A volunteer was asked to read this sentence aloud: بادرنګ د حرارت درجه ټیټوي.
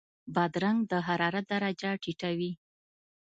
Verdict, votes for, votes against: accepted, 2, 0